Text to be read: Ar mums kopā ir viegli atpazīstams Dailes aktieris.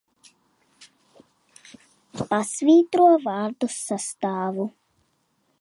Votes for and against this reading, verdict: 0, 2, rejected